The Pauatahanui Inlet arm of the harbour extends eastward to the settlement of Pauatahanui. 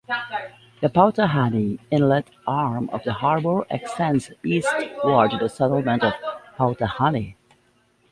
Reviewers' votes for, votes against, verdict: 2, 0, accepted